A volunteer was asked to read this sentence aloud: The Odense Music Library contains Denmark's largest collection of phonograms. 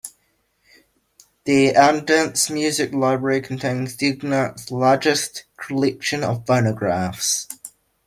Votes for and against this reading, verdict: 0, 2, rejected